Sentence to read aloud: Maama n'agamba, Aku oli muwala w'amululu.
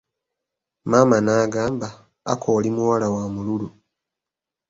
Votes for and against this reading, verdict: 2, 0, accepted